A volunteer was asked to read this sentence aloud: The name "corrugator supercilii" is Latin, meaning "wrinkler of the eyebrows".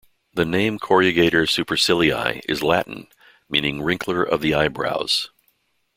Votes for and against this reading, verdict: 2, 0, accepted